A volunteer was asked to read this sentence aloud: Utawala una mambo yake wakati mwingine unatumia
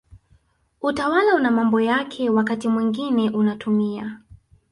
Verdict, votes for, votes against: accepted, 2, 0